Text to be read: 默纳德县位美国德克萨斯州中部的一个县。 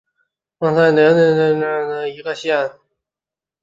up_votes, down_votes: 0, 2